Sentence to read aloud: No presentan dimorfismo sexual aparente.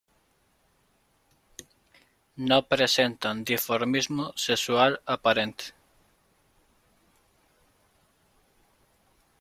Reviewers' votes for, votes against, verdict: 1, 2, rejected